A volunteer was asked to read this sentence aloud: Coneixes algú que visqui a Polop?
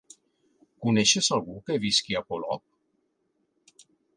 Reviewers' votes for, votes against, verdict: 3, 0, accepted